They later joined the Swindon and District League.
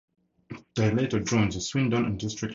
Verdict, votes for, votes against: accepted, 2, 0